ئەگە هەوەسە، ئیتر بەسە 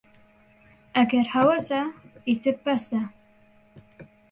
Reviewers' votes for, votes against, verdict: 2, 0, accepted